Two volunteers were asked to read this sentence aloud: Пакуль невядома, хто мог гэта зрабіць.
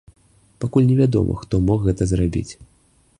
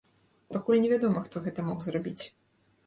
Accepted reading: first